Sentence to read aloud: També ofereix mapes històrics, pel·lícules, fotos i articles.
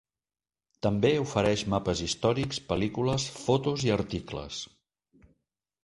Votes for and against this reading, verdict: 3, 0, accepted